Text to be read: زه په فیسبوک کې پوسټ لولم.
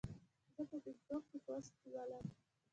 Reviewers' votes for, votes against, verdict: 0, 2, rejected